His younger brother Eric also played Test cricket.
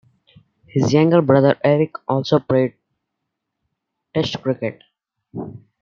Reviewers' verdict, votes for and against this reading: accepted, 2, 0